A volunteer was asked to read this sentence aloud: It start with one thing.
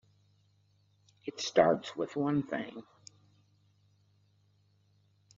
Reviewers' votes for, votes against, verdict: 0, 2, rejected